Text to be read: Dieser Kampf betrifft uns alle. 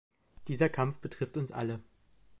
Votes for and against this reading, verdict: 2, 0, accepted